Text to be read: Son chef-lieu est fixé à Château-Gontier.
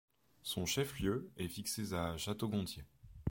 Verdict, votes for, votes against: rejected, 1, 2